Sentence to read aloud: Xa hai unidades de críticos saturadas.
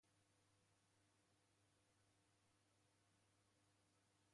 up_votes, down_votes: 0, 2